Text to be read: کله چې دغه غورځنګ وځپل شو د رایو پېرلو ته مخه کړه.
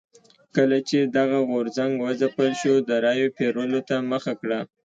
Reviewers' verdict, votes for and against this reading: accepted, 2, 0